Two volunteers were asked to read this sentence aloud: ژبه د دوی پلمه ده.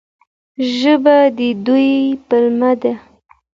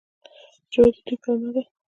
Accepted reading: first